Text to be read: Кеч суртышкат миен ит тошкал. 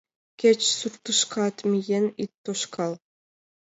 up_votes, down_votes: 2, 0